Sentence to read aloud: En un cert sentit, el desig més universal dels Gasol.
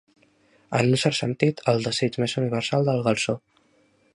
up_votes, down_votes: 0, 2